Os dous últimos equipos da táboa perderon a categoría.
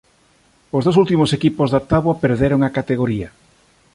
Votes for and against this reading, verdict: 2, 0, accepted